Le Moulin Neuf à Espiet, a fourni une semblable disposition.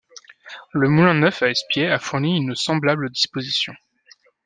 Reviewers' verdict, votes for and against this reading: accepted, 2, 0